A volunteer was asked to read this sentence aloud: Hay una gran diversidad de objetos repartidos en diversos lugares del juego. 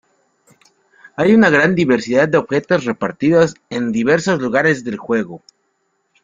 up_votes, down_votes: 2, 0